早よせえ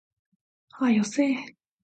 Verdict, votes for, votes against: accepted, 2, 0